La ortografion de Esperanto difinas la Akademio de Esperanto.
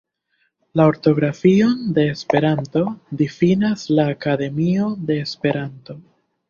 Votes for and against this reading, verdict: 2, 1, accepted